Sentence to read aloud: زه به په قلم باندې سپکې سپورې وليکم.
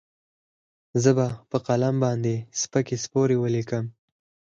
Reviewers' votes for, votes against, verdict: 2, 4, rejected